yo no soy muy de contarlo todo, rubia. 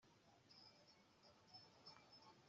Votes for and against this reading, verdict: 0, 2, rejected